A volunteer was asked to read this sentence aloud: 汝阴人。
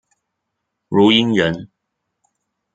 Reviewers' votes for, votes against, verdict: 1, 2, rejected